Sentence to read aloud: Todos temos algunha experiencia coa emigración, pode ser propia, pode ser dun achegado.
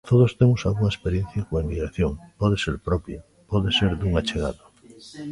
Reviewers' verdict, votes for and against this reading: accepted, 2, 1